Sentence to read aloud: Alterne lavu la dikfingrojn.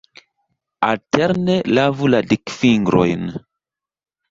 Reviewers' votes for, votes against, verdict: 2, 0, accepted